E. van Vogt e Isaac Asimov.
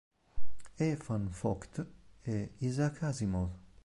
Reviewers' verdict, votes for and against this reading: accepted, 5, 0